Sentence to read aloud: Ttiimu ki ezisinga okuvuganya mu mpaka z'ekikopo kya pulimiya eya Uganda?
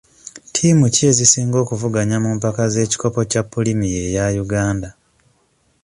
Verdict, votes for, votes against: accepted, 2, 0